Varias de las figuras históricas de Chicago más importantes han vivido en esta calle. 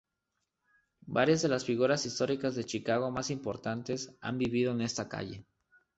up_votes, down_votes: 2, 0